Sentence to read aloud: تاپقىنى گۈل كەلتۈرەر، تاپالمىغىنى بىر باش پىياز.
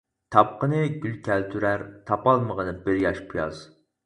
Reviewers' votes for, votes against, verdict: 2, 4, rejected